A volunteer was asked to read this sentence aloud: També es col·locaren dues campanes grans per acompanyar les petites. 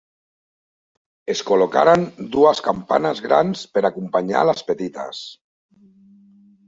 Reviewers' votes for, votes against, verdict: 0, 2, rejected